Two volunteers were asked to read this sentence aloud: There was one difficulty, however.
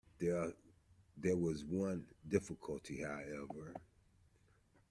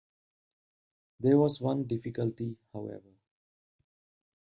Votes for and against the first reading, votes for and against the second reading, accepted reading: 0, 2, 2, 0, second